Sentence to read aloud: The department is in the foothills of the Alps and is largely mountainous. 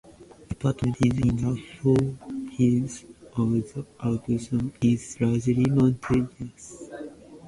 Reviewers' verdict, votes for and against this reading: rejected, 0, 2